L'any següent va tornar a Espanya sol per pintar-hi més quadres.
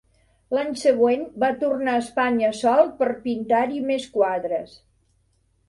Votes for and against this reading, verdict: 1, 2, rejected